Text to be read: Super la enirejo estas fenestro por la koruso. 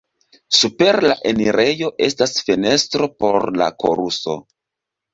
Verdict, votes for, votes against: accepted, 2, 0